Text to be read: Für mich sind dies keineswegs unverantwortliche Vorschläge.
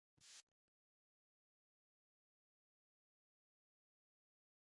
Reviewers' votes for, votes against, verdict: 0, 2, rejected